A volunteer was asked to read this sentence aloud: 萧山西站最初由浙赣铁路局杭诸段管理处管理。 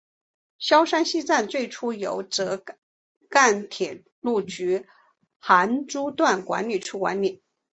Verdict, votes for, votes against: accepted, 2, 0